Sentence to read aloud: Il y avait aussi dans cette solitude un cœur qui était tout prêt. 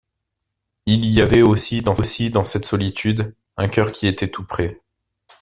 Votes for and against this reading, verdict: 0, 2, rejected